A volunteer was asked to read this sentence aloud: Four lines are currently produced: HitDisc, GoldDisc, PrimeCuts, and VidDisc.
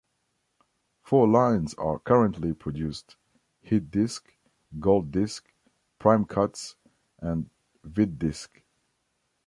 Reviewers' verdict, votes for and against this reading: accepted, 2, 0